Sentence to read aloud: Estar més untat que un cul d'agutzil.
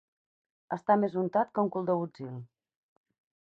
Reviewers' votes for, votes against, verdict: 2, 2, rejected